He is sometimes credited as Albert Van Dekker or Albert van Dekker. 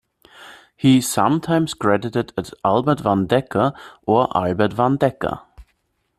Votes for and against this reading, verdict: 0, 2, rejected